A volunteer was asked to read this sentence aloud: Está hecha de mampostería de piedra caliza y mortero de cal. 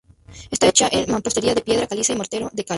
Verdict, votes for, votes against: rejected, 0, 2